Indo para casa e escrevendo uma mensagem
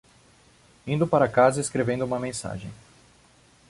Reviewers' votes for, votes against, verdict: 2, 0, accepted